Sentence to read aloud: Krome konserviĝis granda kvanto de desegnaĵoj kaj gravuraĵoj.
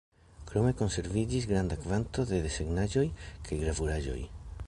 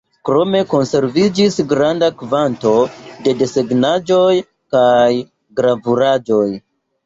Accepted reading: first